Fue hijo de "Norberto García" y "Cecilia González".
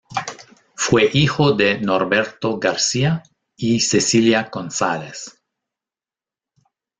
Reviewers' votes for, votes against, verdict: 0, 2, rejected